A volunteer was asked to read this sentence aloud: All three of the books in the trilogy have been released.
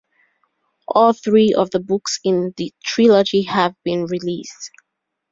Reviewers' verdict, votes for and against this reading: accepted, 2, 0